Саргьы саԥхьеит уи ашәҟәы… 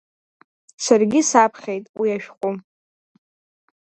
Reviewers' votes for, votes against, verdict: 2, 0, accepted